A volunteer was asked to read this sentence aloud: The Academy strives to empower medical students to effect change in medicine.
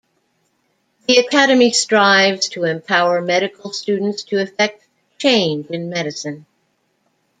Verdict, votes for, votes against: rejected, 0, 2